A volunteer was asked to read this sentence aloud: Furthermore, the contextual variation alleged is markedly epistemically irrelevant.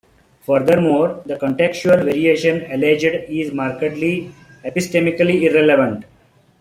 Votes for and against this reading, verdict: 2, 1, accepted